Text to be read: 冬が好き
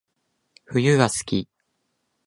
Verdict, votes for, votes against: accepted, 4, 1